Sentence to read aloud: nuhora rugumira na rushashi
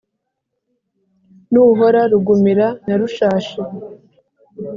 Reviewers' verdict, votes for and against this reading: accepted, 3, 0